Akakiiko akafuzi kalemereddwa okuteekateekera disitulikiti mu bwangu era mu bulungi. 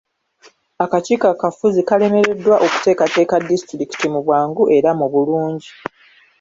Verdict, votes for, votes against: accepted, 2, 1